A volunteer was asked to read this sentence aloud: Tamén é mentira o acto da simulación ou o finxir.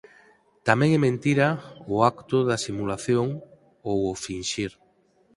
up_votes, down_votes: 4, 0